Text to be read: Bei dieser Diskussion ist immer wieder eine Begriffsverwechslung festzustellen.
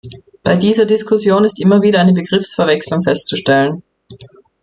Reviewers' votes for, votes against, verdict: 2, 0, accepted